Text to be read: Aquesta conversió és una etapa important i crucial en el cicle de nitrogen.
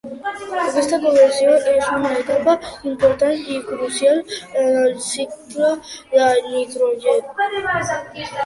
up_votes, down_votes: 1, 2